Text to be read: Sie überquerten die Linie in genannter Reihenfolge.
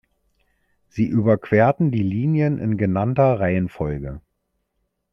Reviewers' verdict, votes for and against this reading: rejected, 0, 2